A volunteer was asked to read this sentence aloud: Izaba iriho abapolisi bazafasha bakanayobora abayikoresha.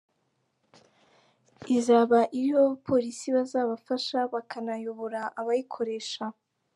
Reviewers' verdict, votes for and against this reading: accepted, 3, 2